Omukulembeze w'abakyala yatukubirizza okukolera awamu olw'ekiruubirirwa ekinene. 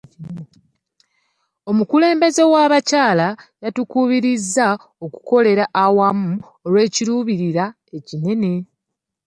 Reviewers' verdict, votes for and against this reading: rejected, 0, 2